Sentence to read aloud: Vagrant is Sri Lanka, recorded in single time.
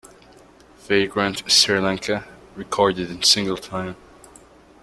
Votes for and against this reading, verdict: 2, 0, accepted